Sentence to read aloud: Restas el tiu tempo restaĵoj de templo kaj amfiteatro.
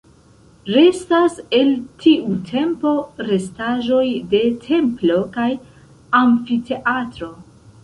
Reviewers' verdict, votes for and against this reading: rejected, 0, 2